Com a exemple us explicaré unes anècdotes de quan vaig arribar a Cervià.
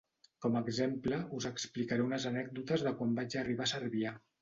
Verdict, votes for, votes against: accepted, 2, 0